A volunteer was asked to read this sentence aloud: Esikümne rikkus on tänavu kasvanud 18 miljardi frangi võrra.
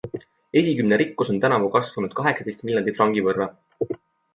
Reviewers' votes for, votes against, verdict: 0, 2, rejected